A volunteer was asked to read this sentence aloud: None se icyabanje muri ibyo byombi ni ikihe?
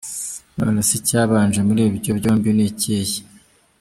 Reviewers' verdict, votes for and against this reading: accepted, 2, 1